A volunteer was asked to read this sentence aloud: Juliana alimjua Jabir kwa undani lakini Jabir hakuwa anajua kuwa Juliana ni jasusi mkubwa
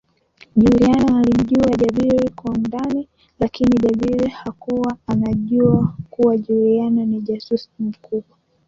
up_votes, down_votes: 2, 1